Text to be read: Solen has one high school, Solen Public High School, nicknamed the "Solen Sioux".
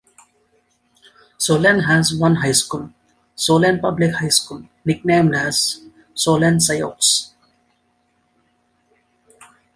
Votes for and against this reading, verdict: 0, 2, rejected